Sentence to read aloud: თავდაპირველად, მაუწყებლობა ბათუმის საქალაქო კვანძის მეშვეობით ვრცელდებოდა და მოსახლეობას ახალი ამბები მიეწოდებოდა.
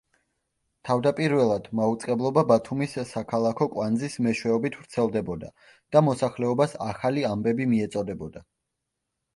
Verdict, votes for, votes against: accepted, 2, 0